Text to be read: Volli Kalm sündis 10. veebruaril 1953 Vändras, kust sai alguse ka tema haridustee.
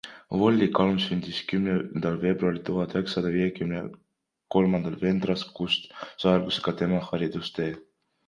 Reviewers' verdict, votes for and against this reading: rejected, 0, 2